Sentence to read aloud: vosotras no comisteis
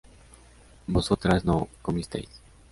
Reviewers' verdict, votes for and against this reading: accepted, 3, 0